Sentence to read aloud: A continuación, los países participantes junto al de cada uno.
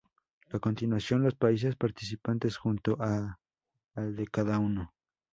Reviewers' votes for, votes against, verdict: 0, 2, rejected